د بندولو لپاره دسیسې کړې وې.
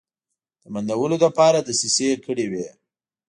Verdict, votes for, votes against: accepted, 2, 0